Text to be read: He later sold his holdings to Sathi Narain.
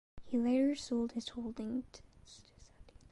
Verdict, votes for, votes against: rejected, 0, 2